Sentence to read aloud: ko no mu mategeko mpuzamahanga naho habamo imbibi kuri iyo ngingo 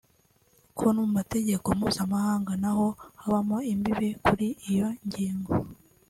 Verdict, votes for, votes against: accepted, 2, 0